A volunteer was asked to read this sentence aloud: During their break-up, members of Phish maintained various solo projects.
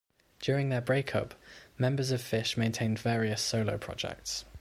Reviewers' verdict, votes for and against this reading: accepted, 2, 0